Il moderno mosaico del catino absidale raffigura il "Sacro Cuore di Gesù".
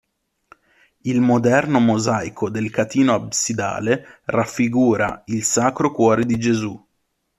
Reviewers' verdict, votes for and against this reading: accepted, 2, 0